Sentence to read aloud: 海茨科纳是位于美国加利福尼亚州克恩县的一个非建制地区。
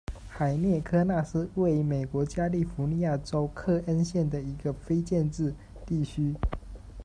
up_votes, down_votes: 1, 2